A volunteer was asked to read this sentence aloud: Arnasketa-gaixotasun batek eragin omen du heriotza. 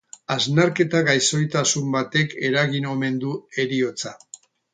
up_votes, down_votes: 4, 2